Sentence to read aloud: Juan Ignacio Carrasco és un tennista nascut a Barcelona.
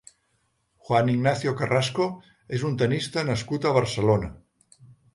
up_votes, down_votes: 3, 0